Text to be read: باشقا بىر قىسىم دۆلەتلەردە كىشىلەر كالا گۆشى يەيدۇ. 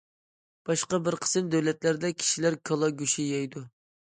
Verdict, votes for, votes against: accepted, 2, 0